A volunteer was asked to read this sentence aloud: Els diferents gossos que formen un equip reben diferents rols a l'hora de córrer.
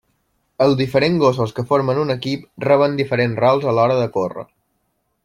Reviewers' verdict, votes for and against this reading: rejected, 0, 2